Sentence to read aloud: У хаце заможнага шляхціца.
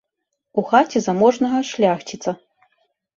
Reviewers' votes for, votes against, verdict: 2, 0, accepted